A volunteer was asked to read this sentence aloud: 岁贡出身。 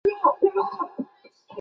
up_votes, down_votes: 0, 2